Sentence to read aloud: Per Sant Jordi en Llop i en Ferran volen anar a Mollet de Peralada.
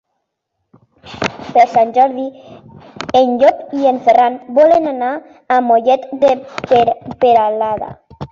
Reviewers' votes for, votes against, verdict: 1, 2, rejected